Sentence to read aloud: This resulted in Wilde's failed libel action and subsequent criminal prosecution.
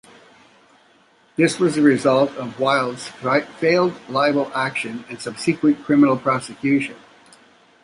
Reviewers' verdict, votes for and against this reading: rejected, 0, 2